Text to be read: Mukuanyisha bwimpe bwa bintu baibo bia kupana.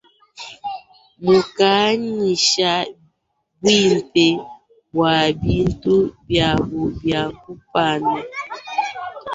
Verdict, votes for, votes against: accepted, 2, 0